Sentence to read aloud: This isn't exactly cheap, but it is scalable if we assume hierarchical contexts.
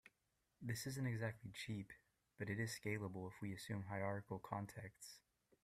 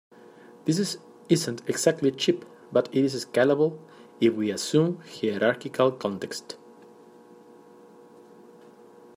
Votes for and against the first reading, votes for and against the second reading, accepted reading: 2, 0, 0, 2, first